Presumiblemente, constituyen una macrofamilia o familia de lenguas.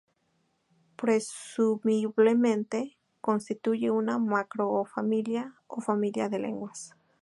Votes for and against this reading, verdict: 0, 2, rejected